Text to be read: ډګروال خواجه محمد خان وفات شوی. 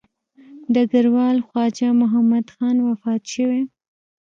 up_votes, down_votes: 1, 2